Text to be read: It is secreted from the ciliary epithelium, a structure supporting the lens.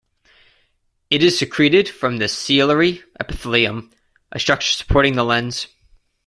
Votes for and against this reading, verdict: 2, 0, accepted